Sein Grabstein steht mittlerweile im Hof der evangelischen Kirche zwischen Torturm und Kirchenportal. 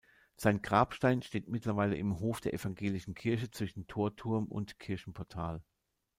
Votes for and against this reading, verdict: 1, 2, rejected